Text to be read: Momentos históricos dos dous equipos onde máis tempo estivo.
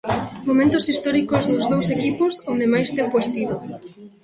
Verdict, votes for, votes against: rejected, 1, 2